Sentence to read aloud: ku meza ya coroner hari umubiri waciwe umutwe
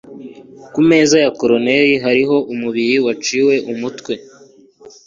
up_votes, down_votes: 2, 0